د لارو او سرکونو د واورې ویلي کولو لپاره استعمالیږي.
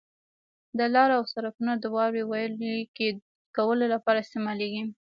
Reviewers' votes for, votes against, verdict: 1, 2, rejected